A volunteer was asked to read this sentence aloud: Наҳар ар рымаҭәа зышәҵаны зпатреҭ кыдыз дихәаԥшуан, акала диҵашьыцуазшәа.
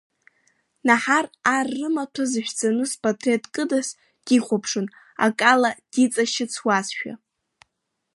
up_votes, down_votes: 2, 1